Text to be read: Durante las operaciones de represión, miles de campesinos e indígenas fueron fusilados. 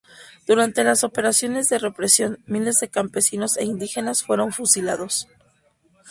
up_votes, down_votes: 2, 0